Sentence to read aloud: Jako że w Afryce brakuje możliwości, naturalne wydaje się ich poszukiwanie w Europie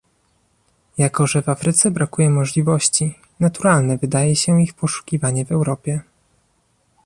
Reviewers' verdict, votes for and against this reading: rejected, 1, 2